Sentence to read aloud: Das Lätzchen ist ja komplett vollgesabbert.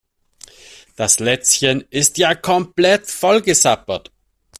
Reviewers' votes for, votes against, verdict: 2, 0, accepted